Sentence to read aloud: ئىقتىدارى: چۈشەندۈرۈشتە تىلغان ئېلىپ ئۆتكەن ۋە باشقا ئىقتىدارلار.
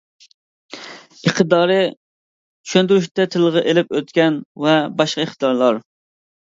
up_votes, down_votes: 0, 2